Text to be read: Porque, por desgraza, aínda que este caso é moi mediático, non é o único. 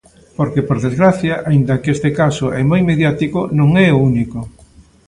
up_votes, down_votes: 0, 2